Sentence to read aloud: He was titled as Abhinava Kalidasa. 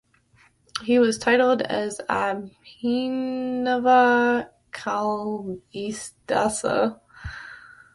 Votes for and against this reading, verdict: 1, 2, rejected